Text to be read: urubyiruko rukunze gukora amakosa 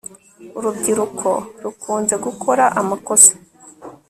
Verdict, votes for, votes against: accepted, 2, 0